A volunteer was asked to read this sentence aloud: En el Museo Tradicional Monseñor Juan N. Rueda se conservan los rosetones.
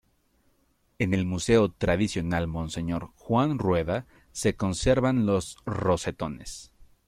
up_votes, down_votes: 0, 2